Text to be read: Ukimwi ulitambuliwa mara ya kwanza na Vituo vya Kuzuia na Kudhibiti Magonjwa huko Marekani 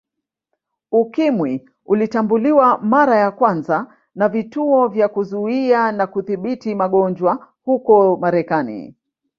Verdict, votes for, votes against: rejected, 0, 2